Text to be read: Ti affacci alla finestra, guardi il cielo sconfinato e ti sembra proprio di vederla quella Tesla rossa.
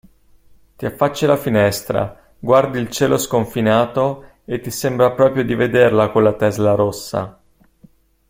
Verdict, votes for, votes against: accepted, 2, 0